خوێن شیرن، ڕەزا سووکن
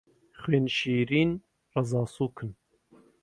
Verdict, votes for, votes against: accepted, 2, 0